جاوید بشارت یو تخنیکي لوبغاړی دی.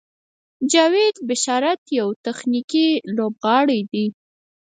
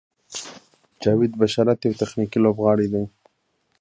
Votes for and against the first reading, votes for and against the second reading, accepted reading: 2, 4, 2, 0, second